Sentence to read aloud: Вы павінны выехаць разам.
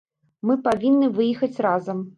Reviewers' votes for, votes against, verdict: 0, 2, rejected